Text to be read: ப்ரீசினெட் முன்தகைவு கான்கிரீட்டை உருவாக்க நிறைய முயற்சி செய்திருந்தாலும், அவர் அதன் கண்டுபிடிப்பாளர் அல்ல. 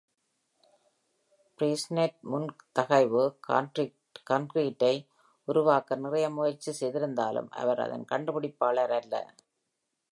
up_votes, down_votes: 2, 0